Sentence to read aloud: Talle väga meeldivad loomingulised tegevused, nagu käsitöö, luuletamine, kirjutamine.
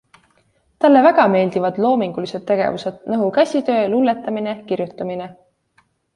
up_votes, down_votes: 2, 0